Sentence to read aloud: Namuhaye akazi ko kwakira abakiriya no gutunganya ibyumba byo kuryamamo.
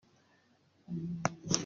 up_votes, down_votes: 0, 2